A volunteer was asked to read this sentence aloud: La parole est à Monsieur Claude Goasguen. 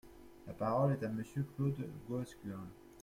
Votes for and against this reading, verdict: 1, 2, rejected